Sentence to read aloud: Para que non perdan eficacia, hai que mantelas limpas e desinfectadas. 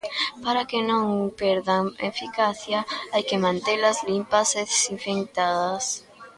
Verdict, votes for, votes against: rejected, 0, 2